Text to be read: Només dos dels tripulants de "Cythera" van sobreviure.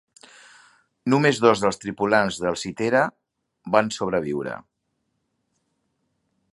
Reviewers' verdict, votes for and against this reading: rejected, 1, 2